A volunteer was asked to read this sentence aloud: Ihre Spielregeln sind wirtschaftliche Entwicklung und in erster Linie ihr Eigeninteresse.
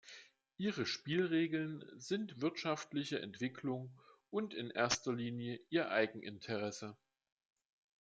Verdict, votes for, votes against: accepted, 2, 0